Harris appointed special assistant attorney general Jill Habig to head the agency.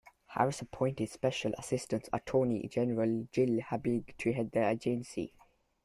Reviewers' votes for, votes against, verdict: 2, 0, accepted